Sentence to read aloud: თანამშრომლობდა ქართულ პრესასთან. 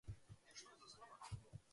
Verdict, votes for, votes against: rejected, 0, 2